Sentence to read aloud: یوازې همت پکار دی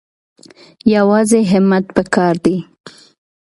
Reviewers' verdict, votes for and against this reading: accepted, 2, 0